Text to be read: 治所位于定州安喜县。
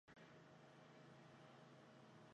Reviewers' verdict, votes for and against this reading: rejected, 0, 2